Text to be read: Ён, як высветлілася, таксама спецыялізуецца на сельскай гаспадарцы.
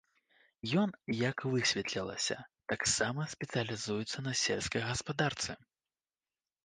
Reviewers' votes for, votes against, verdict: 2, 0, accepted